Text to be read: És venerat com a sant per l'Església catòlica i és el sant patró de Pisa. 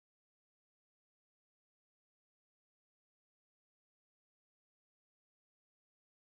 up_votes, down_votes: 0, 2